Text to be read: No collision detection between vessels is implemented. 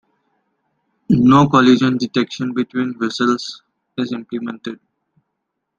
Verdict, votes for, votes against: accepted, 2, 0